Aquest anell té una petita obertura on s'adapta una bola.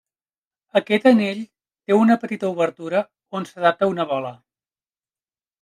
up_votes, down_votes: 3, 0